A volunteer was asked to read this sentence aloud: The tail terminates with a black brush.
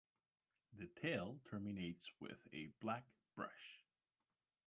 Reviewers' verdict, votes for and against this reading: accepted, 2, 0